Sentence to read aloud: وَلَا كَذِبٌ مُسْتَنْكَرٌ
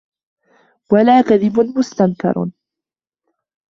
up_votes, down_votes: 3, 1